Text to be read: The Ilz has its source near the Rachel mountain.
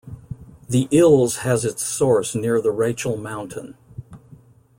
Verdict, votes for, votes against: accepted, 2, 0